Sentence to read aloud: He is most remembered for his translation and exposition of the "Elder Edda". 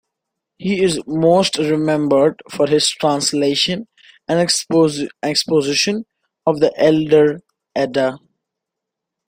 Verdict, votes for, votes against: rejected, 0, 2